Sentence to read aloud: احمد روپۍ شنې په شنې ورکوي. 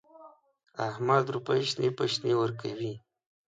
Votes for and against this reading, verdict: 2, 0, accepted